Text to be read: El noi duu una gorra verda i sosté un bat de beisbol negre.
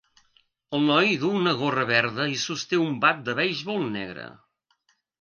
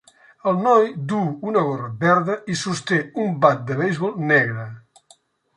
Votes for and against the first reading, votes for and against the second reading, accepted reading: 1, 2, 3, 0, second